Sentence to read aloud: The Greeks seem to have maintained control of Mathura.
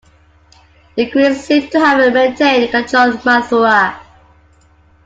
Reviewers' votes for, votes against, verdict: 0, 2, rejected